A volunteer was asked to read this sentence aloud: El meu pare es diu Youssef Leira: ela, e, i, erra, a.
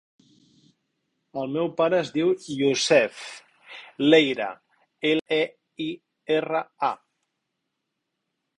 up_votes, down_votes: 0, 2